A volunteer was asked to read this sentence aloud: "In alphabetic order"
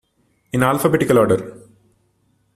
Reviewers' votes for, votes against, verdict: 0, 2, rejected